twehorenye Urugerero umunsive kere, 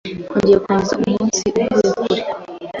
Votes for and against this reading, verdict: 0, 2, rejected